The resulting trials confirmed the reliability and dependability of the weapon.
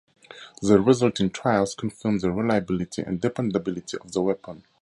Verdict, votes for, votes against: accepted, 4, 0